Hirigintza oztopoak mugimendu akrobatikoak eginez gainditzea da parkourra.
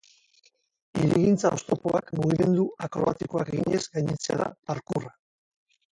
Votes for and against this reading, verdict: 0, 4, rejected